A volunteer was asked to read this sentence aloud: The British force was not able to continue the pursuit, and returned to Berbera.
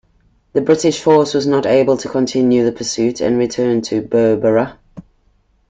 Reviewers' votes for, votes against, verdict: 2, 0, accepted